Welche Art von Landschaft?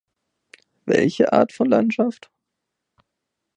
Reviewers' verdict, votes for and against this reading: accepted, 2, 0